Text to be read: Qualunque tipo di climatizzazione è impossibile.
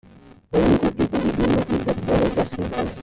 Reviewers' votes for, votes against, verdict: 0, 2, rejected